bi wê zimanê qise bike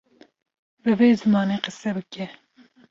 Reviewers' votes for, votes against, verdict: 2, 0, accepted